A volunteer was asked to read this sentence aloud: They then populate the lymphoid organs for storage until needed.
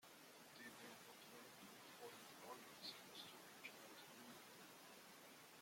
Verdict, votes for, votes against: rejected, 0, 2